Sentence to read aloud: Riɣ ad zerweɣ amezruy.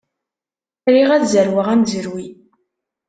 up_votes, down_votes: 2, 0